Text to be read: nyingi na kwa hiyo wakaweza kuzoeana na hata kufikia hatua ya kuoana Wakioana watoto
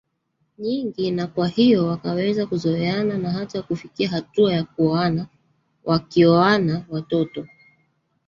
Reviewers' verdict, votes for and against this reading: accepted, 2, 1